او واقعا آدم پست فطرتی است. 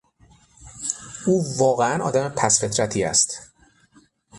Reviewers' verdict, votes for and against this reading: accepted, 6, 0